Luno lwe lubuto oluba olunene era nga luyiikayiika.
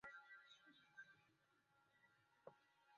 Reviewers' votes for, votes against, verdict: 0, 2, rejected